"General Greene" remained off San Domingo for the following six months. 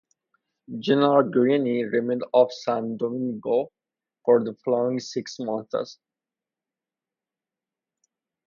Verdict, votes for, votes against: rejected, 2, 2